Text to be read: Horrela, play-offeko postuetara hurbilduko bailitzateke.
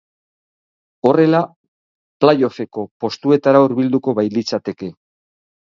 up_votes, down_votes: 6, 0